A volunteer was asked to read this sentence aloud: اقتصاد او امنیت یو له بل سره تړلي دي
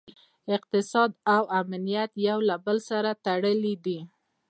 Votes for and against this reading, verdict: 2, 0, accepted